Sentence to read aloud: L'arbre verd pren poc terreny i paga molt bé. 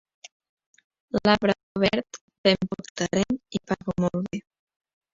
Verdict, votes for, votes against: rejected, 0, 2